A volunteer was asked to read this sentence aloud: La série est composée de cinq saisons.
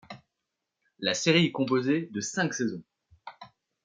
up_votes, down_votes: 2, 0